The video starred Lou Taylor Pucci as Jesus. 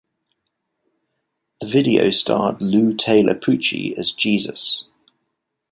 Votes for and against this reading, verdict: 3, 0, accepted